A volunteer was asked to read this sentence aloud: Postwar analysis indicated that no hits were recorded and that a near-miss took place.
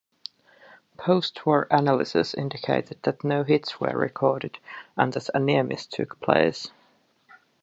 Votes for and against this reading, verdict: 3, 1, accepted